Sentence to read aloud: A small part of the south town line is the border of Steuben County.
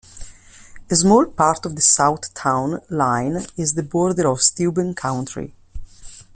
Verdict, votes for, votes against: rejected, 0, 2